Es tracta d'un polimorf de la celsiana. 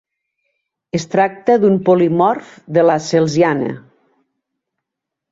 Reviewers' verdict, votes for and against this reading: accepted, 2, 0